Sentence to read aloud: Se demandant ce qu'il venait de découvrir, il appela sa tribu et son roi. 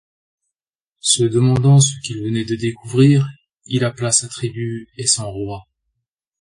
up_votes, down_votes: 2, 0